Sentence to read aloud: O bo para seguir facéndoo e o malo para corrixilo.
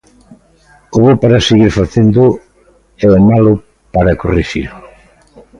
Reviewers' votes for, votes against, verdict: 1, 2, rejected